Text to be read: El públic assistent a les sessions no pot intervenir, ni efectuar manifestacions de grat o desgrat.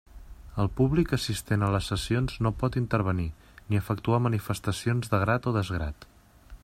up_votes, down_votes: 3, 0